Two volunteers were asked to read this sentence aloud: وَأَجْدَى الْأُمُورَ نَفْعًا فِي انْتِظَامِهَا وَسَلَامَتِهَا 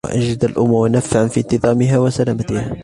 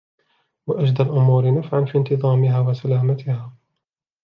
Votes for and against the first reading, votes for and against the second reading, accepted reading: 1, 2, 2, 0, second